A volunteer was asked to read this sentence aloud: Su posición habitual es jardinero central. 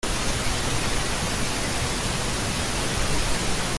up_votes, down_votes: 0, 2